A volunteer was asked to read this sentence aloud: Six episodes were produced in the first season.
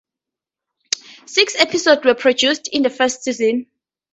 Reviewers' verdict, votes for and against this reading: rejected, 0, 4